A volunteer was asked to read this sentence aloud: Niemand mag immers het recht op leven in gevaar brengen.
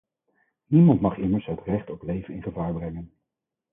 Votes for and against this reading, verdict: 2, 4, rejected